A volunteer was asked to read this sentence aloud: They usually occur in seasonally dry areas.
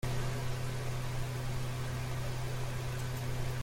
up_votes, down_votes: 0, 2